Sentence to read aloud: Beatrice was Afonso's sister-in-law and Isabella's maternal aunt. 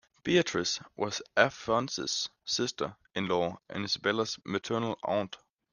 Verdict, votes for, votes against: accepted, 2, 1